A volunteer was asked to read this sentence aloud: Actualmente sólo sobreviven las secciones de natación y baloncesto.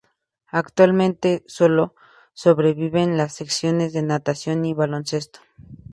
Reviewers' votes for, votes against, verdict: 4, 0, accepted